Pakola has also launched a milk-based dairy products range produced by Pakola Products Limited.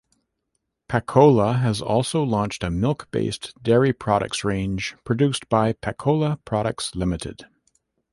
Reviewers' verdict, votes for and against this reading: accepted, 2, 0